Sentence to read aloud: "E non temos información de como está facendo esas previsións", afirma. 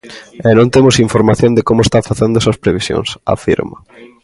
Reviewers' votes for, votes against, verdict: 2, 0, accepted